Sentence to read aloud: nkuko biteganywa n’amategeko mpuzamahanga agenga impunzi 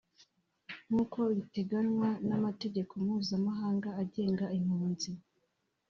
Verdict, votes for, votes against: accepted, 3, 0